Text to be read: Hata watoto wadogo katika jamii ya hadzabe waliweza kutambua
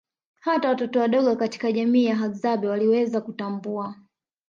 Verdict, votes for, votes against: accepted, 3, 1